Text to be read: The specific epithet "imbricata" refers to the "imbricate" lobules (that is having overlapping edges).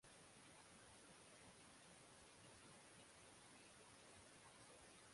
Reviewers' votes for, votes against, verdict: 0, 6, rejected